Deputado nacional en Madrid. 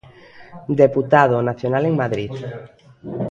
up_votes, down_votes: 1, 2